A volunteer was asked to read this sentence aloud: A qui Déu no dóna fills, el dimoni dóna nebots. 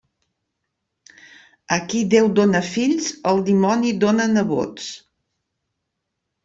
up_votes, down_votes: 0, 2